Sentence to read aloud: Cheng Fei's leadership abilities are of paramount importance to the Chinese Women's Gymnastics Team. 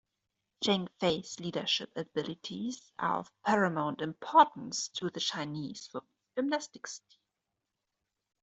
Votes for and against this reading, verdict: 1, 2, rejected